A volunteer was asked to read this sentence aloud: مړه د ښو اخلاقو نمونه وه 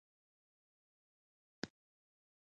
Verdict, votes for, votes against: rejected, 0, 2